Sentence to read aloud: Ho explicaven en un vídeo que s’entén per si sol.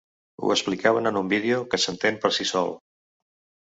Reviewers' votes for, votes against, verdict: 3, 0, accepted